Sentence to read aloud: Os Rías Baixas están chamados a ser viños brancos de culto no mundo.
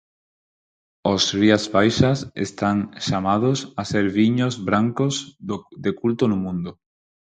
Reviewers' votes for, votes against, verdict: 0, 4, rejected